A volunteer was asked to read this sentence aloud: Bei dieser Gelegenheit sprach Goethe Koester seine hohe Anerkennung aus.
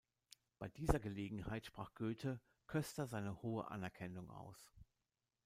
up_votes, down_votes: 2, 0